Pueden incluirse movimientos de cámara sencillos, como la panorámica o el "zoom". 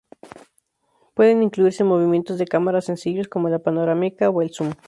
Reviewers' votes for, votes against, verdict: 0, 2, rejected